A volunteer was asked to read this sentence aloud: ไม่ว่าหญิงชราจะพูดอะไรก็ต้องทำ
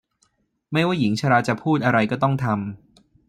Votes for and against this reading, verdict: 2, 0, accepted